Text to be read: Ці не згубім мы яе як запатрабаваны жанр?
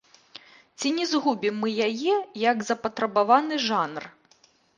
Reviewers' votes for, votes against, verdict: 1, 2, rejected